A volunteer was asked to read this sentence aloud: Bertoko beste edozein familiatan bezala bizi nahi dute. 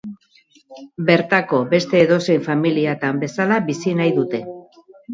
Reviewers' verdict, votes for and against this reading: rejected, 2, 6